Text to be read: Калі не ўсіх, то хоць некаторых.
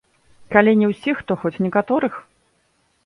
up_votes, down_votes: 2, 1